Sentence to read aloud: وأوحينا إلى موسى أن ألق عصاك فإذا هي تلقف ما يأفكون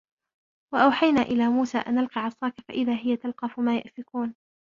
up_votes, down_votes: 2, 0